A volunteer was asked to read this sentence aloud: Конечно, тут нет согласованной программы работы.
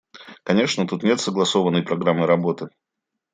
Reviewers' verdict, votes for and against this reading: accepted, 2, 0